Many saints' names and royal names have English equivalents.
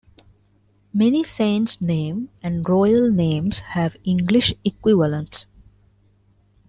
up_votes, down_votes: 1, 2